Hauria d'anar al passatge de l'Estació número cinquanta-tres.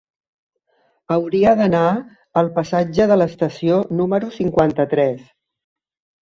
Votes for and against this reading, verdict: 3, 0, accepted